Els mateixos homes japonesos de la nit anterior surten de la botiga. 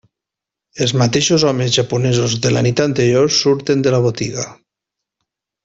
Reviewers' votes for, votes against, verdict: 3, 0, accepted